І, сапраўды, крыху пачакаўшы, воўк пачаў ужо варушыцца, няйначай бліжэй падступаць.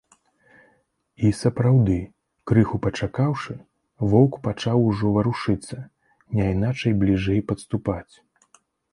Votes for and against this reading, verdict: 2, 0, accepted